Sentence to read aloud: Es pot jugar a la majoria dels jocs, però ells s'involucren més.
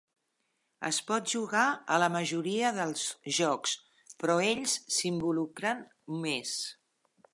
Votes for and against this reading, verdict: 1, 2, rejected